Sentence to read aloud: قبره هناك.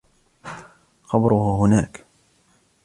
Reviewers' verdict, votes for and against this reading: accepted, 2, 1